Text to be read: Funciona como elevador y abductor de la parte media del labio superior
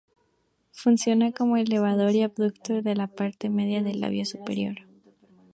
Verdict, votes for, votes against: rejected, 0, 2